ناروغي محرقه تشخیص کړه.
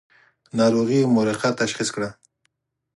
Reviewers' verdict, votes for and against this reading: accepted, 4, 0